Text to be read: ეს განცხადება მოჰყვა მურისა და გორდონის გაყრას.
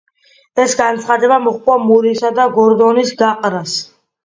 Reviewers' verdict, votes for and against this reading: accepted, 2, 0